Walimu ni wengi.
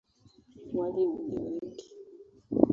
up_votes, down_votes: 2, 1